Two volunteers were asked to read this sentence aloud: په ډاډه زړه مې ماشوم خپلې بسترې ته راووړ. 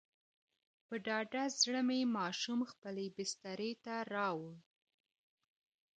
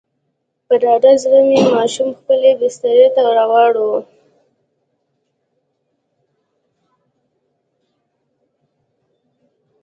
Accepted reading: first